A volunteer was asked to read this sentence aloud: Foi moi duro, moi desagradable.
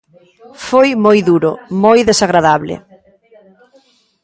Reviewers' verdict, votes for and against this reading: rejected, 1, 2